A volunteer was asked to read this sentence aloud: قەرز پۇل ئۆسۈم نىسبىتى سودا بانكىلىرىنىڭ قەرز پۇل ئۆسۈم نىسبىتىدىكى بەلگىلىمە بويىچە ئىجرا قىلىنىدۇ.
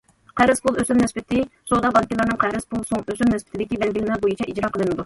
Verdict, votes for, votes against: rejected, 0, 2